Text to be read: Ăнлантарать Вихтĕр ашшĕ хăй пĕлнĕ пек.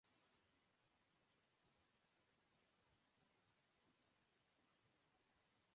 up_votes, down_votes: 0, 2